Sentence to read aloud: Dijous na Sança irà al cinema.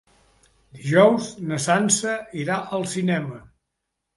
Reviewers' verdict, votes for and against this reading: rejected, 1, 2